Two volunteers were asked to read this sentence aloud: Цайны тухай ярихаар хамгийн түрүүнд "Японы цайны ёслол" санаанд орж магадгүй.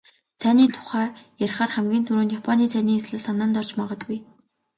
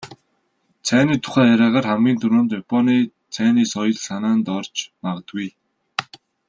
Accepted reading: first